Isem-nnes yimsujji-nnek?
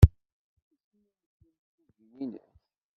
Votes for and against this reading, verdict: 0, 2, rejected